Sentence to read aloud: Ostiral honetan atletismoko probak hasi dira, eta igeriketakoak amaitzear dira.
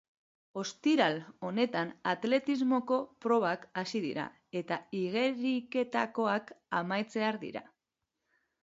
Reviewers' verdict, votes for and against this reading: accepted, 2, 1